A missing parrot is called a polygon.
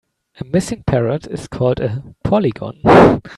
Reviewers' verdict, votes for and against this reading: rejected, 1, 2